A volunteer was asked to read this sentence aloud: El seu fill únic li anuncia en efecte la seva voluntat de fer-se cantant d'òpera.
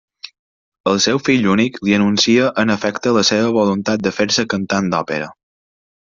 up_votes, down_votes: 3, 0